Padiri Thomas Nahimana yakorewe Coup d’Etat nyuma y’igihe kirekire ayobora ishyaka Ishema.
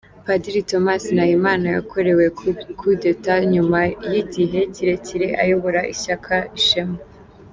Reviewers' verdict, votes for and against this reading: accepted, 2, 1